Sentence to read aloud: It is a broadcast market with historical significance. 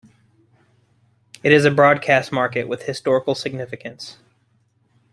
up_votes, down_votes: 2, 0